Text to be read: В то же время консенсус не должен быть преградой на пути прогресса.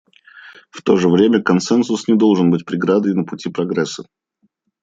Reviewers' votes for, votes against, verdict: 2, 0, accepted